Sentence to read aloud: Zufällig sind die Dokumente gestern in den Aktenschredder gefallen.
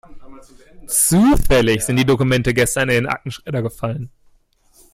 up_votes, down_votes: 2, 1